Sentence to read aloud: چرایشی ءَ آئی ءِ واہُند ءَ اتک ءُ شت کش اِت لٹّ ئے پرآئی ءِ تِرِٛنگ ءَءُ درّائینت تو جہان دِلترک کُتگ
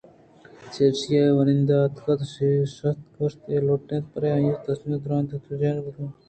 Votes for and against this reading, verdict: 2, 0, accepted